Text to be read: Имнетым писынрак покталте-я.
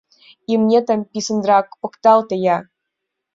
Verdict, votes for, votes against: accepted, 2, 0